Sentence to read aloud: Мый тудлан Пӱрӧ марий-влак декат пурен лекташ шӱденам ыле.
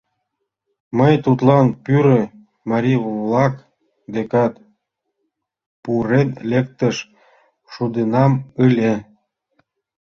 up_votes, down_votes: 0, 2